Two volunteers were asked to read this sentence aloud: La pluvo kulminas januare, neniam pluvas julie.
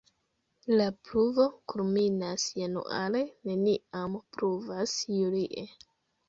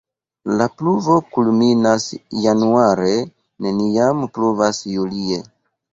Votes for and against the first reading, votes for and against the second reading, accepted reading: 1, 2, 2, 0, second